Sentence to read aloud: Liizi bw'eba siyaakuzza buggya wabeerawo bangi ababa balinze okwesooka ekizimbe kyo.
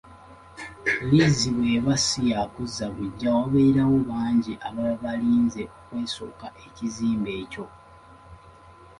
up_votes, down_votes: 2, 0